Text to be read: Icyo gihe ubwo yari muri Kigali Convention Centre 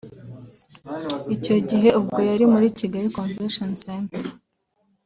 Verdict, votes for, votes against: rejected, 1, 2